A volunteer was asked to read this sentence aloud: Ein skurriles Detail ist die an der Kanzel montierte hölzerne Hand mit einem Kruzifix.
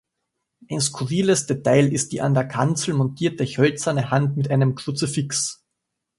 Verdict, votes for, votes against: accepted, 2, 0